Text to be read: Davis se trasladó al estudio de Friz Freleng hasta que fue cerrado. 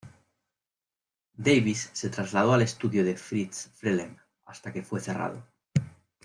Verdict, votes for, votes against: rejected, 1, 2